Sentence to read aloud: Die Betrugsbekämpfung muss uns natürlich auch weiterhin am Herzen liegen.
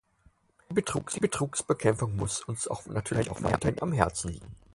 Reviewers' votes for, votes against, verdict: 0, 4, rejected